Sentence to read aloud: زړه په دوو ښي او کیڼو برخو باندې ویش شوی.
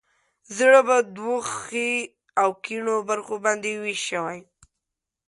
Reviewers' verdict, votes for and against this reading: accepted, 2, 0